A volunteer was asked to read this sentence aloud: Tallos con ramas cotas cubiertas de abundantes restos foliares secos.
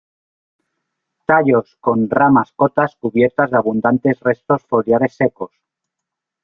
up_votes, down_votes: 1, 2